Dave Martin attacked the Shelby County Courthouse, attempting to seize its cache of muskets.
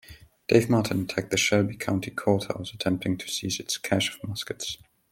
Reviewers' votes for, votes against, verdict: 2, 0, accepted